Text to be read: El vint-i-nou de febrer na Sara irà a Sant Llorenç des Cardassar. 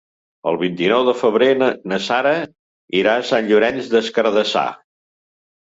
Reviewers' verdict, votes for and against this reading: rejected, 1, 2